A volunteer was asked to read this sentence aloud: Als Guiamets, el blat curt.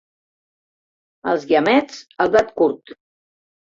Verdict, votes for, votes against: accepted, 2, 0